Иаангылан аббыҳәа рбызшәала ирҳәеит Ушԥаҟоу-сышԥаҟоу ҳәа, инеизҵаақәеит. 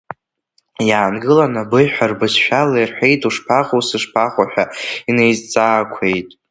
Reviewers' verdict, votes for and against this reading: rejected, 0, 2